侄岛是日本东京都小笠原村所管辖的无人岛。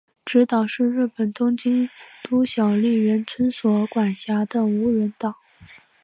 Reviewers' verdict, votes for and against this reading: accepted, 4, 2